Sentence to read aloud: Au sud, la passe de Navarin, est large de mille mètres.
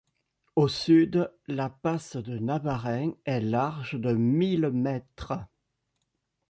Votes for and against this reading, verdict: 2, 0, accepted